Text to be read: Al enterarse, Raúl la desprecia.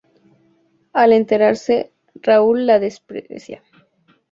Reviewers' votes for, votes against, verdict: 4, 0, accepted